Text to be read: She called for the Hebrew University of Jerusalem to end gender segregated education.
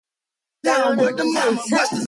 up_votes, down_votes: 0, 2